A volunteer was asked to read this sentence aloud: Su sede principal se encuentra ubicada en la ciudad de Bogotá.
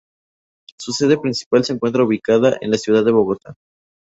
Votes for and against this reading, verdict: 0, 2, rejected